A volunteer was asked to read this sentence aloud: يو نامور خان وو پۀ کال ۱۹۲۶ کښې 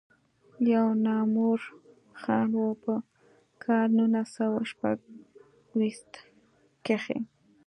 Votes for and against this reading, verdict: 0, 2, rejected